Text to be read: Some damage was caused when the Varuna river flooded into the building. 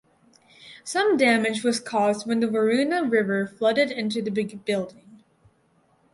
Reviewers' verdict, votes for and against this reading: rejected, 0, 4